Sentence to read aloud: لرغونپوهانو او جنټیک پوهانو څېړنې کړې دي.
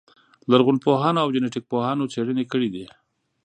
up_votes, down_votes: 2, 0